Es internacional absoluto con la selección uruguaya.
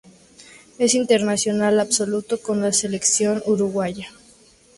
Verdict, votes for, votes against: accepted, 2, 0